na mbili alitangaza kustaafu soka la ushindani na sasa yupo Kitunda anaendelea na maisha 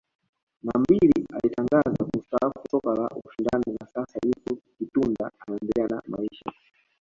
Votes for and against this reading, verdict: 1, 2, rejected